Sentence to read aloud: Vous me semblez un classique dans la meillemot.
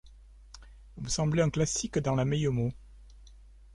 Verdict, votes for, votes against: rejected, 1, 2